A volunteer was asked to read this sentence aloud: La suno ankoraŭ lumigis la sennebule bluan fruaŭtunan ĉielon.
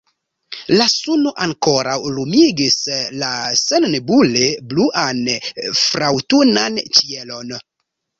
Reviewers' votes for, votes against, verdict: 1, 2, rejected